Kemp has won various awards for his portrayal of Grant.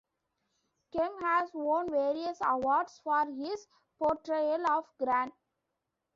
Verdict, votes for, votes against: accepted, 2, 1